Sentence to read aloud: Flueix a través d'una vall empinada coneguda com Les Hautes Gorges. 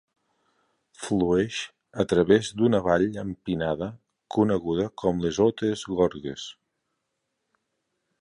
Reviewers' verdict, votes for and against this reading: rejected, 1, 2